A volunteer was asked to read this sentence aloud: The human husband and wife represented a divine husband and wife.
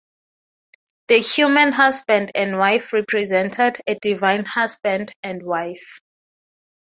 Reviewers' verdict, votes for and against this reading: accepted, 6, 0